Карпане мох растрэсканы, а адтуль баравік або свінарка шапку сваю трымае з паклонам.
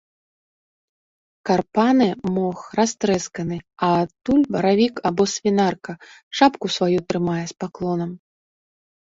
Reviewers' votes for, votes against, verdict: 2, 0, accepted